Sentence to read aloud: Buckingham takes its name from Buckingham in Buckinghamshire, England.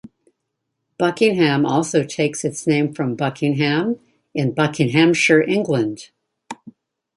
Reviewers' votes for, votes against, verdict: 1, 2, rejected